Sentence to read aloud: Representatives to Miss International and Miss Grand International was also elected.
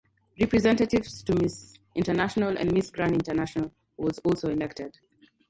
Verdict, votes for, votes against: accepted, 4, 2